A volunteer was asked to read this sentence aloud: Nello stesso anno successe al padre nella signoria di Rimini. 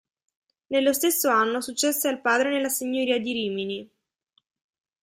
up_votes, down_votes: 2, 1